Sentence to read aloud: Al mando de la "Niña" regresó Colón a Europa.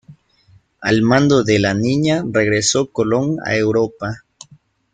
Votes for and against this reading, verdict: 2, 1, accepted